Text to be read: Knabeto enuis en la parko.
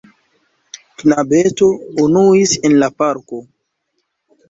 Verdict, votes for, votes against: rejected, 1, 2